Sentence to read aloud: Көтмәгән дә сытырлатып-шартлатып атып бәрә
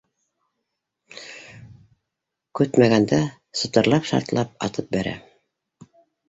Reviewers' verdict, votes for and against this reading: rejected, 0, 2